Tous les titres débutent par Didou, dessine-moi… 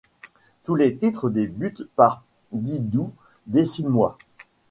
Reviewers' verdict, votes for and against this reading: accepted, 2, 0